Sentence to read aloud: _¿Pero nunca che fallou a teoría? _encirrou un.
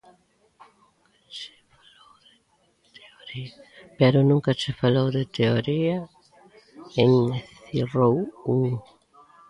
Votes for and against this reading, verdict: 0, 3, rejected